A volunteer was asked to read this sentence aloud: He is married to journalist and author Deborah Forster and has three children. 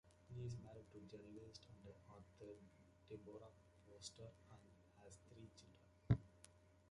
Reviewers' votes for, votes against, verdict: 1, 2, rejected